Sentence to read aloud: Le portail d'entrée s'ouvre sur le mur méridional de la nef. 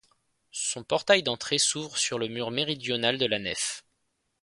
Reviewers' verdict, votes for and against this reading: rejected, 0, 2